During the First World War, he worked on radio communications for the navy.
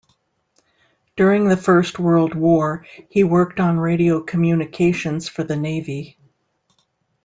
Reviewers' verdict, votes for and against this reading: accepted, 2, 0